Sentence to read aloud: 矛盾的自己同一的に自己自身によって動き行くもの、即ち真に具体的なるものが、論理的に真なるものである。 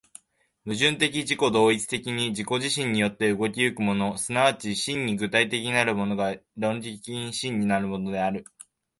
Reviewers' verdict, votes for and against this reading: accepted, 2, 0